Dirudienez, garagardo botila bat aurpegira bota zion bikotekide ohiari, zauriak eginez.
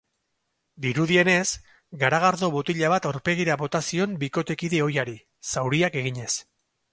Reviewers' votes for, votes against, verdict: 4, 0, accepted